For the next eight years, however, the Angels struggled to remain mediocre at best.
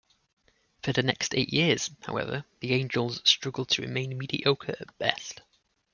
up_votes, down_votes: 2, 0